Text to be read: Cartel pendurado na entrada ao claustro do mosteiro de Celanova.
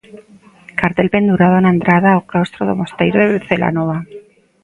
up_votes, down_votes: 1, 2